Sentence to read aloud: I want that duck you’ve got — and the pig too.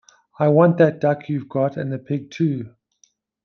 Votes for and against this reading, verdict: 2, 0, accepted